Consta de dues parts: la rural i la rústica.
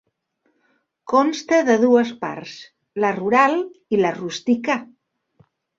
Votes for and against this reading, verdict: 4, 0, accepted